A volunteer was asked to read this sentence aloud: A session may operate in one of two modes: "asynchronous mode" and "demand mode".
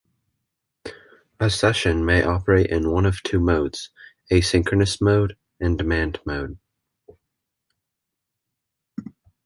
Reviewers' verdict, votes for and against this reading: accepted, 2, 0